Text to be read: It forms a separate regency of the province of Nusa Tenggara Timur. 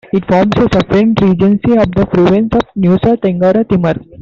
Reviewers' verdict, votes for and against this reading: accepted, 2, 0